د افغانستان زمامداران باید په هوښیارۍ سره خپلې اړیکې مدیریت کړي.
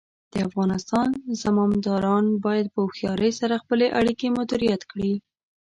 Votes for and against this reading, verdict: 1, 2, rejected